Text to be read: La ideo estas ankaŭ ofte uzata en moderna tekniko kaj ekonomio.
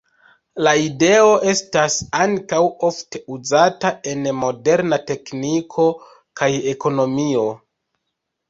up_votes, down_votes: 2, 0